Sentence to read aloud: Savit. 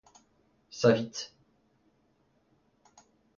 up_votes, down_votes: 2, 0